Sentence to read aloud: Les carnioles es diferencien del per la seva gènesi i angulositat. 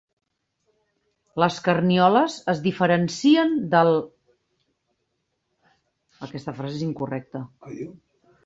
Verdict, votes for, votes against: rejected, 0, 2